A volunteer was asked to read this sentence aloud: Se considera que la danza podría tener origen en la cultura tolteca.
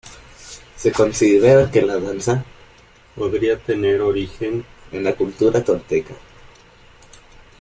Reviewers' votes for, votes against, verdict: 0, 2, rejected